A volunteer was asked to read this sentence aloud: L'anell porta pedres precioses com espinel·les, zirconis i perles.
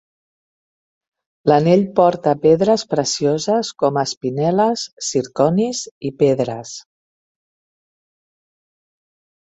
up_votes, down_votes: 0, 2